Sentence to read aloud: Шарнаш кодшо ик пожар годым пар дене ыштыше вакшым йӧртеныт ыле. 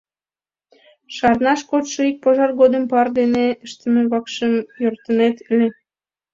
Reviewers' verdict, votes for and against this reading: rejected, 1, 3